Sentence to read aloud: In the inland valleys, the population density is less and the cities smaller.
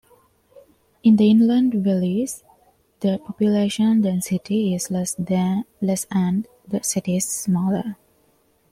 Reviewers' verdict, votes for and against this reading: accepted, 2, 1